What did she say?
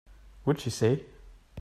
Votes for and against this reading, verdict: 1, 2, rejected